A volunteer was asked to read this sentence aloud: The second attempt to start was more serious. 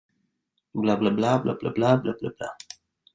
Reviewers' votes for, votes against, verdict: 1, 2, rejected